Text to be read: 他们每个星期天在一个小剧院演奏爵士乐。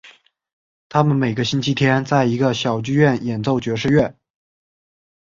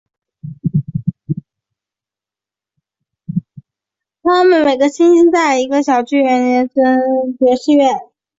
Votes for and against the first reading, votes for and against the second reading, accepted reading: 3, 0, 4, 5, first